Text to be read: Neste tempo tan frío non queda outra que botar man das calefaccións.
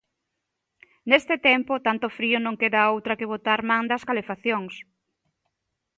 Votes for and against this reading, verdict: 0, 2, rejected